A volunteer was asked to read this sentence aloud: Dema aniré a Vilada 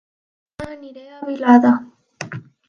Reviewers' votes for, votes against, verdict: 0, 2, rejected